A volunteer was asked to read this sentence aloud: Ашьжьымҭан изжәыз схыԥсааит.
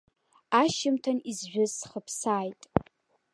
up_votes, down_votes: 0, 2